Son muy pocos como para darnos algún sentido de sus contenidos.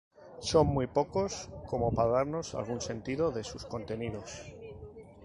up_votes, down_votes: 2, 0